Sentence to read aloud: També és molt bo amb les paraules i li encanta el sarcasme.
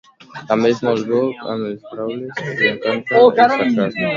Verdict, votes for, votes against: rejected, 0, 2